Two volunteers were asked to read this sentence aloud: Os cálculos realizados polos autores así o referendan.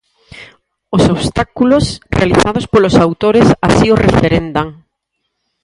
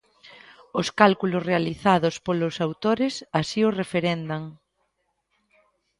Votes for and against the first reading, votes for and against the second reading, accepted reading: 0, 4, 2, 0, second